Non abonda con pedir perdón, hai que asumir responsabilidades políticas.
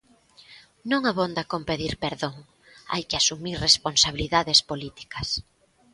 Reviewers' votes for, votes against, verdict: 2, 0, accepted